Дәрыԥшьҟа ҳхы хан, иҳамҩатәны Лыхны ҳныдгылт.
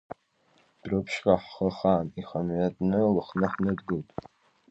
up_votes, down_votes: 2, 1